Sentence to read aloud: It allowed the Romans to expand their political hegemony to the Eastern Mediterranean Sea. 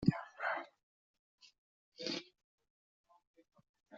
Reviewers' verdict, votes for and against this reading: rejected, 0, 2